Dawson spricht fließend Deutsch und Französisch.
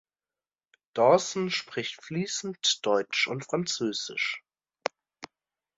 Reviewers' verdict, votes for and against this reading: accepted, 2, 0